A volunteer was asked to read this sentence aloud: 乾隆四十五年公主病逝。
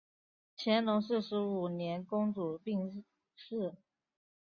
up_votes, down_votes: 9, 0